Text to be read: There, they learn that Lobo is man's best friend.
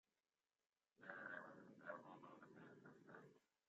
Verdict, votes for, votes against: rejected, 0, 2